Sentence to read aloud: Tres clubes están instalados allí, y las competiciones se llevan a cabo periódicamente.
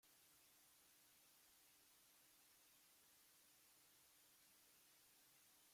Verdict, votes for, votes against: rejected, 0, 2